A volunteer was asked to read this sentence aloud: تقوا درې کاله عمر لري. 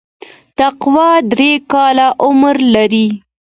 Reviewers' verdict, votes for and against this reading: accepted, 2, 0